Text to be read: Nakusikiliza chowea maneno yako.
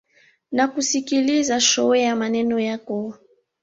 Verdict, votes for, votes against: accepted, 2, 0